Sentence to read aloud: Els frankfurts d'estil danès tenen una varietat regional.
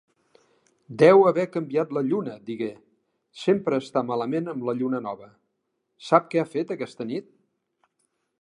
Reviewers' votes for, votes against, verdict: 0, 3, rejected